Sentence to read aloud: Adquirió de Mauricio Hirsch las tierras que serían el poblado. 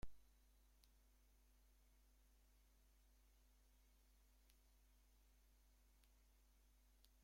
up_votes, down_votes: 0, 2